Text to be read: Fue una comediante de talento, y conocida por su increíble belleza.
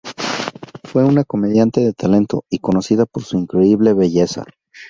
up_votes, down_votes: 0, 2